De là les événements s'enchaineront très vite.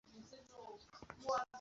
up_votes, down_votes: 0, 2